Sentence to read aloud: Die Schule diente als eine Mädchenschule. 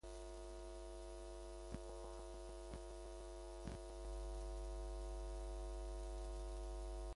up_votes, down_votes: 0, 2